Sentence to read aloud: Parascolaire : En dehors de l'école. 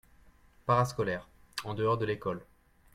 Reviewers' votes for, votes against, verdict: 2, 0, accepted